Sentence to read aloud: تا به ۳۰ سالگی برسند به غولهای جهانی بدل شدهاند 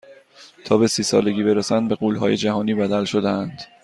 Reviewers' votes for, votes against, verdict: 0, 2, rejected